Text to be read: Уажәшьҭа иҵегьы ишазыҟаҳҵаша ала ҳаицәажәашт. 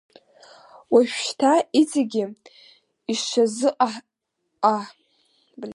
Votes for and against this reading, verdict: 0, 3, rejected